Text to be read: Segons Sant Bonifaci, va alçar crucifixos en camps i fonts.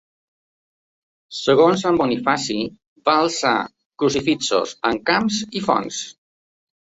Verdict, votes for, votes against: accepted, 2, 0